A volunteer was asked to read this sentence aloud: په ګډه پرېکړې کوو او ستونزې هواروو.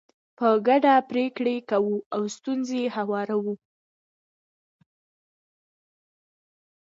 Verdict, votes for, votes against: rejected, 0, 2